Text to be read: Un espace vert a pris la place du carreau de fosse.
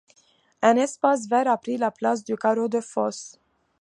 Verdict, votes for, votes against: accepted, 2, 0